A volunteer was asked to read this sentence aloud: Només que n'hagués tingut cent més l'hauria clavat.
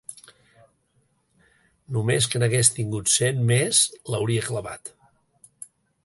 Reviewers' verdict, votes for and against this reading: accepted, 3, 0